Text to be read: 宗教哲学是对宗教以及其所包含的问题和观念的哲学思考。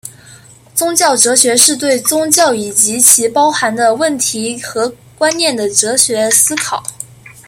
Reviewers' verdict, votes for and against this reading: accepted, 2, 0